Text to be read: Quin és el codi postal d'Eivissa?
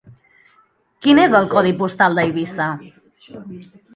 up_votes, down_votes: 2, 0